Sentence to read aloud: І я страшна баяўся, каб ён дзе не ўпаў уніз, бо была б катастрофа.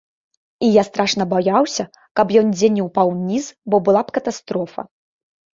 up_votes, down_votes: 2, 1